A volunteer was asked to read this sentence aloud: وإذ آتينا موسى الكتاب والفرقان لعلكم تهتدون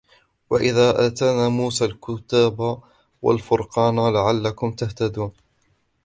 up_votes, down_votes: 1, 2